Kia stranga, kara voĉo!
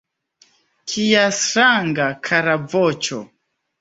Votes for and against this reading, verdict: 2, 1, accepted